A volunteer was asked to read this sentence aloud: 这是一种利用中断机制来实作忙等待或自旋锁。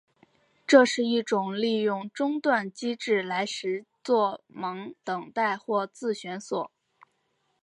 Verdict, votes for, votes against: rejected, 0, 2